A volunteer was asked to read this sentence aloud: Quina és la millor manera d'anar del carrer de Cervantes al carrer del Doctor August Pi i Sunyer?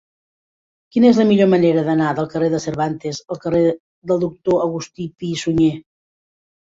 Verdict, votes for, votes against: rejected, 0, 2